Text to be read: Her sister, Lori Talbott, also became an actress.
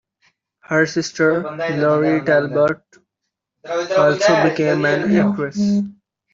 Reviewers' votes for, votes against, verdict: 1, 2, rejected